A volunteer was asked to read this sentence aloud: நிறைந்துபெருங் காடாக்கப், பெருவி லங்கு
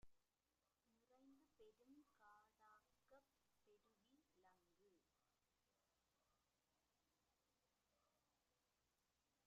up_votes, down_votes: 0, 2